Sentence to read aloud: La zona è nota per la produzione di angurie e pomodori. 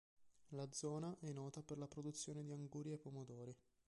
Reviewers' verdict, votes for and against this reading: rejected, 0, 2